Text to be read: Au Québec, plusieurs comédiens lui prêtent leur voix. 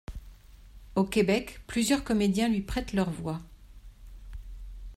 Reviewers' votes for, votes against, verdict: 2, 0, accepted